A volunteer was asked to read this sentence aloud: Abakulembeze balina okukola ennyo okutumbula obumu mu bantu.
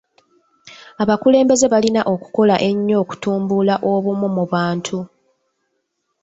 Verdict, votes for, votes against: accepted, 2, 0